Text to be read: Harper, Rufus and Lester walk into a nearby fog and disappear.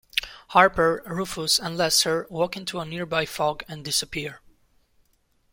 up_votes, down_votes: 2, 0